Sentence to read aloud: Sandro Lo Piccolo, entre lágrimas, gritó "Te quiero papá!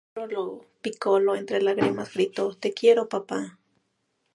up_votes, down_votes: 2, 0